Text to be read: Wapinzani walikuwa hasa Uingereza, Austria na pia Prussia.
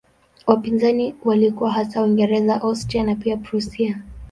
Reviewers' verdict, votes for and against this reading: accepted, 2, 0